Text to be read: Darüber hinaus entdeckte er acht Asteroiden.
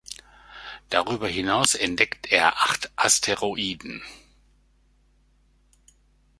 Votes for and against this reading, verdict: 1, 2, rejected